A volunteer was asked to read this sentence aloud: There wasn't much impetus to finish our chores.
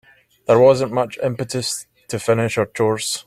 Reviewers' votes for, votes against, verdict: 3, 0, accepted